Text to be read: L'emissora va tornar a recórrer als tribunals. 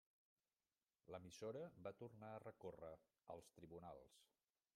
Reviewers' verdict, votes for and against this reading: rejected, 1, 2